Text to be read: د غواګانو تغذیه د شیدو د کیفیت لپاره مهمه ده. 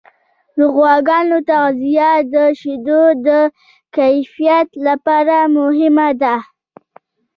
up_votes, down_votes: 0, 2